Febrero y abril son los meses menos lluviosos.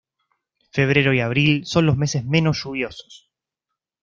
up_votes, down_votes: 2, 0